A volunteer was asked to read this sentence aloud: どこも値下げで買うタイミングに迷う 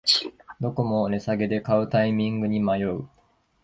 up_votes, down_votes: 0, 2